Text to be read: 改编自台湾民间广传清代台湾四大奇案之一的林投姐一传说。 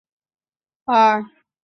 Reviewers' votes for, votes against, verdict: 0, 2, rejected